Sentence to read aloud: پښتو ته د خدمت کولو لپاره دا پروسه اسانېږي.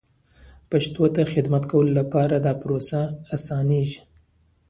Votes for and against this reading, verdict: 0, 2, rejected